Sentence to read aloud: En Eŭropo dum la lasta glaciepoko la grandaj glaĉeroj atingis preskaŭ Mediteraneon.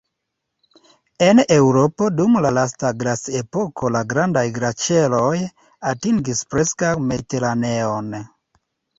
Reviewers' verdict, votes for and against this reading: accepted, 2, 1